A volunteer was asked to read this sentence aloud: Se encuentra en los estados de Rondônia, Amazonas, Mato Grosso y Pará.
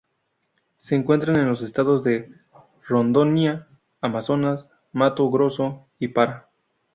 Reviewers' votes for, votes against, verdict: 0, 2, rejected